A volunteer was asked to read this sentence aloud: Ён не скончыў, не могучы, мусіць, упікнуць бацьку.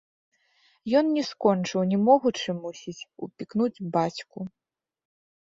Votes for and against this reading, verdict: 1, 2, rejected